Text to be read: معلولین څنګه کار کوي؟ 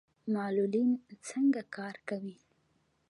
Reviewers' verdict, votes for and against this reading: accepted, 2, 0